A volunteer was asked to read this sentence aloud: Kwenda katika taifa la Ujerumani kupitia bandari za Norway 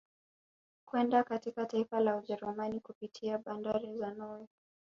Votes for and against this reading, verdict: 0, 2, rejected